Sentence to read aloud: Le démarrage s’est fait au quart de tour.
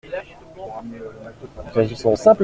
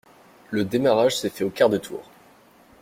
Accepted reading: second